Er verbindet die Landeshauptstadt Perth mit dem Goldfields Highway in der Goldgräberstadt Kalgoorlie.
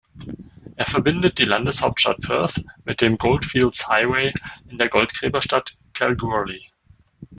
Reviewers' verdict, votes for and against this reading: rejected, 1, 2